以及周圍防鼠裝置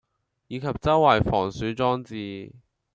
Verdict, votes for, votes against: accepted, 2, 0